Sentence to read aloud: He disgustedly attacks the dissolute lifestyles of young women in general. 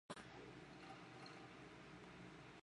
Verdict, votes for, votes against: rejected, 0, 2